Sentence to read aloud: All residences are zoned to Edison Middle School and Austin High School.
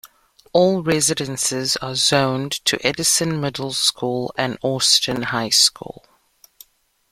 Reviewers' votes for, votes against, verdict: 1, 2, rejected